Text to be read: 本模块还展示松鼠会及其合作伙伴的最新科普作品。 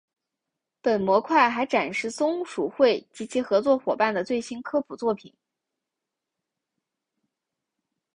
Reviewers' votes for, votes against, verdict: 2, 0, accepted